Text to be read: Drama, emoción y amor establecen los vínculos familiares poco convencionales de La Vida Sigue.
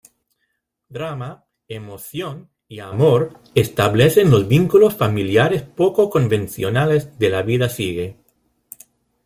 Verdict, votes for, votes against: accepted, 2, 0